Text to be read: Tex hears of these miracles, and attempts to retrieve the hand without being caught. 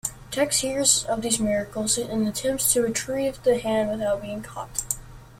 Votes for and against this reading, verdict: 2, 0, accepted